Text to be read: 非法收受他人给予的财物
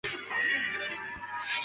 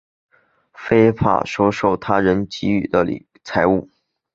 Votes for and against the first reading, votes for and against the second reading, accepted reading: 0, 3, 3, 2, second